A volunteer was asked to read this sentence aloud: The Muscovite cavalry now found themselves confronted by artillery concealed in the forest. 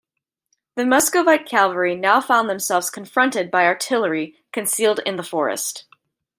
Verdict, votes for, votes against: accepted, 2, 0